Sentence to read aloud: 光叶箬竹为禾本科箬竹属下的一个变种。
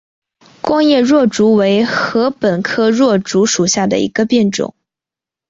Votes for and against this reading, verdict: 2, 1, accepted